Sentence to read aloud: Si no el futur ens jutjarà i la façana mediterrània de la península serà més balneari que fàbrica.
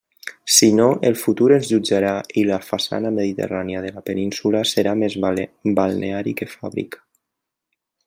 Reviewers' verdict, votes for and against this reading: rejected, 1, 2